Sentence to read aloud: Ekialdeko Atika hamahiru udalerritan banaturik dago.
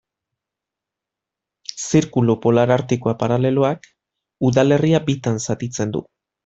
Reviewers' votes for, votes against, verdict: 0, 2, rejected